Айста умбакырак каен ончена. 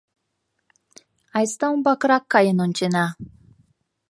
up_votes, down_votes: 2, 0